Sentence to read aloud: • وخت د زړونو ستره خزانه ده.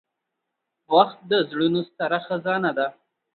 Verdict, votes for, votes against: accepted, 2, 0